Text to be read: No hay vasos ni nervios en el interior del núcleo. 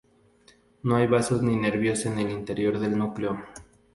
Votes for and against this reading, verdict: 4, 0, accepted